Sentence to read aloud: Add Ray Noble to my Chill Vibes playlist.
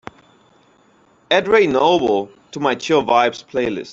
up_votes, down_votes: 3, 1